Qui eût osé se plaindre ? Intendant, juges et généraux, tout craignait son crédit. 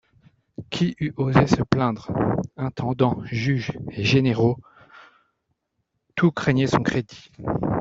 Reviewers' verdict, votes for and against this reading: rejected, 1, 2